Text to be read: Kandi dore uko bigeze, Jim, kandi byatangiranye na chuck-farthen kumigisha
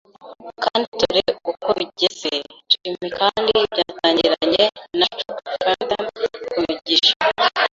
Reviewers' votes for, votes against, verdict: 1, 2, rejected